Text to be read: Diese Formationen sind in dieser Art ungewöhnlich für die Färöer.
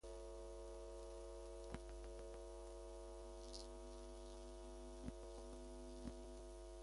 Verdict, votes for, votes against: rejected, 0, 2